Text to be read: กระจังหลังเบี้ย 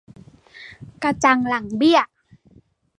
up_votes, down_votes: 2, 0